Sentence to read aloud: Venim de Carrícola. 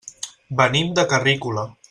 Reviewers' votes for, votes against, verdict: 3, 0, accepted